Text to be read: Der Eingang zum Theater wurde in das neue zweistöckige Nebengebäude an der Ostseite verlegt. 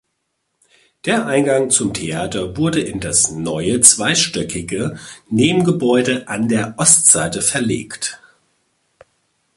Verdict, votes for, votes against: accepted, 2, 1